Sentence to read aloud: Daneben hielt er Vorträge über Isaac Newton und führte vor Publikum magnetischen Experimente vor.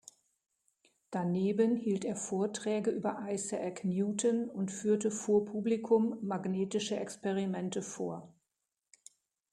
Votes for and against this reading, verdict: 0, 2, rejected